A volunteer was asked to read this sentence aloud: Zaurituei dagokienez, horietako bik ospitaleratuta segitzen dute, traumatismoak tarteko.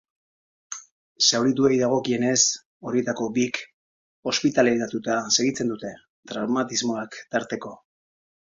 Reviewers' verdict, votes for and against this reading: accepted, 2, 0